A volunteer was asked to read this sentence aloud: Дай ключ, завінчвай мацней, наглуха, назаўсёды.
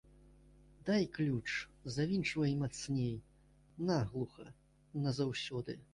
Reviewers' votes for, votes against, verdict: 1, 2, rejected